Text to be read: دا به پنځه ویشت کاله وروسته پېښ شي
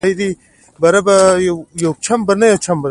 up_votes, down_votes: 1, 2